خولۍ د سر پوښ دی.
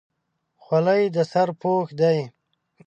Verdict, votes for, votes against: accepted, 2, 0